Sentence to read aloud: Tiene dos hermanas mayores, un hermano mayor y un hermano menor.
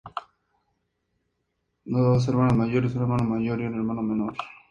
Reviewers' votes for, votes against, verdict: 0, 2, rejected